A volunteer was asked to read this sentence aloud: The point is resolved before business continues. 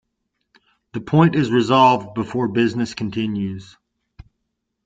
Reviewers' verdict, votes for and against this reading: accepted, 2, 0